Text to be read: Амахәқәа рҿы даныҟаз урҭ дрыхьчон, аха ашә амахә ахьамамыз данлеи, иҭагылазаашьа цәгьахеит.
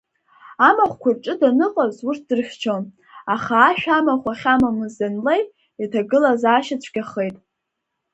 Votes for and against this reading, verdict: 2, 0, accepted